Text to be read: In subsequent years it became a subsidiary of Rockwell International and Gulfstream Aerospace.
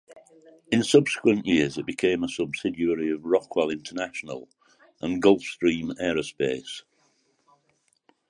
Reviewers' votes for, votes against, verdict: 1, 2, rejected